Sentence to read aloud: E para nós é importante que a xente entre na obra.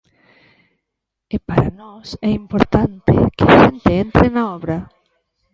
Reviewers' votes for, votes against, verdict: 0, 2, rejected